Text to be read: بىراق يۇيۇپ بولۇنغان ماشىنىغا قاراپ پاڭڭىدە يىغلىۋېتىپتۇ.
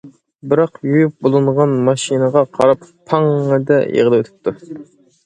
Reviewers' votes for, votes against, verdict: 2, 0, accepted